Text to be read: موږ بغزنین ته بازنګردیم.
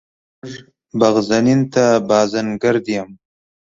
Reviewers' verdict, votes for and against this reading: accepted, 3, 0